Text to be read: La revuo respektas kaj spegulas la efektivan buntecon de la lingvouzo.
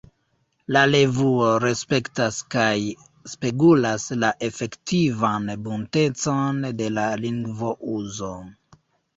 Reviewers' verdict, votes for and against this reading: rejected, 1, 2